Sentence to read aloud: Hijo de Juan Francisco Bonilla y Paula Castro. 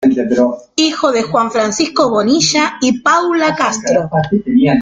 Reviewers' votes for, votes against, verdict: 2, 0, accepted